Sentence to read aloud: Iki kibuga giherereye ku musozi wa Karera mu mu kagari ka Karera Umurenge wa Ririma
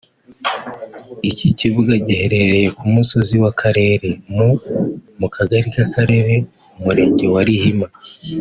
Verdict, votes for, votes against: rejected, 1, 2